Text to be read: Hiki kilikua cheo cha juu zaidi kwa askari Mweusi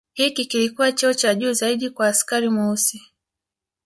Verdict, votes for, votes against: rejected, 1, 2